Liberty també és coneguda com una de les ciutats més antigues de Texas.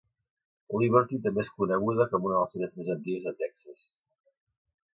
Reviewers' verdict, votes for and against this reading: rejected, 1, 2